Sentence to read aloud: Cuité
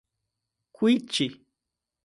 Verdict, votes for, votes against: rejected, 0, 2